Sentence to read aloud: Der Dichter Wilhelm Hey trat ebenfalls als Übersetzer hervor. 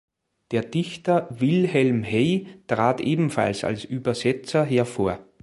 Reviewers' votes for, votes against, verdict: 2, 1, accepted